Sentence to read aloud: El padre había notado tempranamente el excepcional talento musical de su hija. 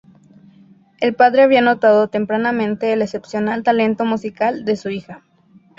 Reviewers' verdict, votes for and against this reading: rejected, 0, 2